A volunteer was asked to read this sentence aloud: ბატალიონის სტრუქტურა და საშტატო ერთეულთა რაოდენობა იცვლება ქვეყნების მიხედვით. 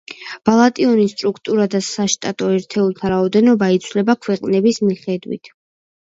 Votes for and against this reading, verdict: 1, 2, rejected